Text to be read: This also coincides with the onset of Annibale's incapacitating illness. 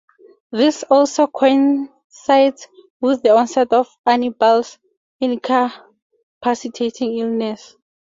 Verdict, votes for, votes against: accepted, 2, 0